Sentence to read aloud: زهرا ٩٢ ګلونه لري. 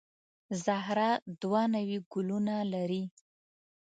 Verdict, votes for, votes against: rejected, 0, 2